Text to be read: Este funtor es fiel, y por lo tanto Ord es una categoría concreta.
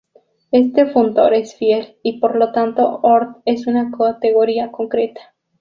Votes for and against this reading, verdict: 0, 2, rejected